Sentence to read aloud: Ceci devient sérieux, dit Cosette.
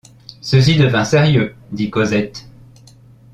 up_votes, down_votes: 1, 2